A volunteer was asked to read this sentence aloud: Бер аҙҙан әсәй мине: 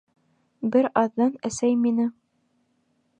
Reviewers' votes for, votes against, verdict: 2, 0, accepted